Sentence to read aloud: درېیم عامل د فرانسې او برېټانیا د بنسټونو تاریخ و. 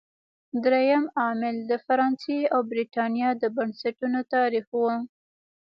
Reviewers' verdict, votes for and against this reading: accepted, 2, 1